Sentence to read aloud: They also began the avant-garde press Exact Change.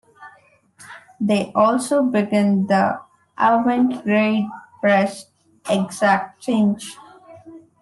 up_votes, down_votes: 1, 2